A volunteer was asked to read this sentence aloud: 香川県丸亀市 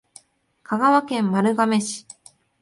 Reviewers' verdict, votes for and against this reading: accepted, 2, 0